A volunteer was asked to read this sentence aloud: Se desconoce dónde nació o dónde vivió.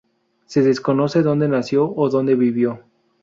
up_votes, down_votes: 2, 0